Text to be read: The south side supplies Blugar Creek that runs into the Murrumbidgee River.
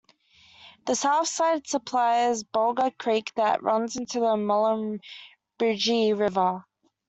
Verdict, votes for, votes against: rejected, 0, 2